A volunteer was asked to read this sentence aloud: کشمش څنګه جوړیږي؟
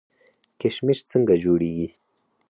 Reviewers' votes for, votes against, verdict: 4, 0, accepted